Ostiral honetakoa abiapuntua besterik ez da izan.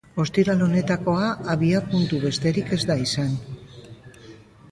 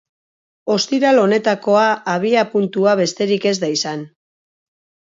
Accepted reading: second